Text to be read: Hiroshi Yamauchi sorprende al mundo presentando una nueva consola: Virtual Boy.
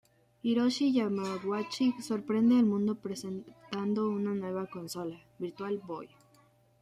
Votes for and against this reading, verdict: 0, 2, rejected